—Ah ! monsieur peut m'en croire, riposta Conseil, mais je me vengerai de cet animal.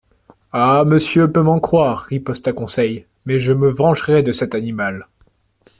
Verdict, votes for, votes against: accepted, 2, 0